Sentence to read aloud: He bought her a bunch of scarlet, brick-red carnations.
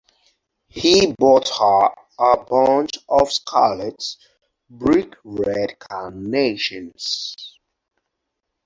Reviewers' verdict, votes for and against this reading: accepted, 4, 0